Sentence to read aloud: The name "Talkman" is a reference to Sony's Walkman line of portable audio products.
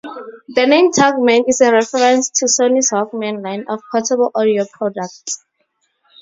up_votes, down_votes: 0, 2